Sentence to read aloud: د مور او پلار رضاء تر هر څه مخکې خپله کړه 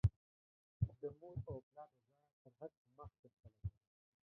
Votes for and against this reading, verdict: 0, 2, rejected